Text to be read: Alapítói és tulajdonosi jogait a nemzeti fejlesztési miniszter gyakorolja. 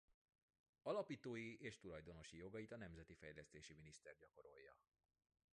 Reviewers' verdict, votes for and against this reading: rejected, 1, 2